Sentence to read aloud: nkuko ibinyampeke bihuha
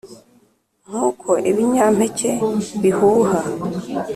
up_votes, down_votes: 2, 0